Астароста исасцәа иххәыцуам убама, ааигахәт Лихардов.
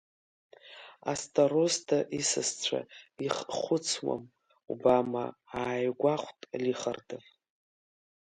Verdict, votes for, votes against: rejected, 1, 2